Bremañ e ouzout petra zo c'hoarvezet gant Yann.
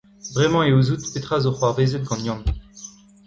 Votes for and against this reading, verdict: 0, 2, rejected